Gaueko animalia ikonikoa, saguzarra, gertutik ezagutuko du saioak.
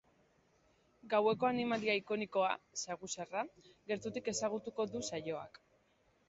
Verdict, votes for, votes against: rejected, 0, 2